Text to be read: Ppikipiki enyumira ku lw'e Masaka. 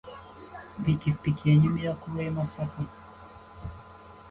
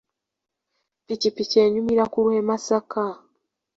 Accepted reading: second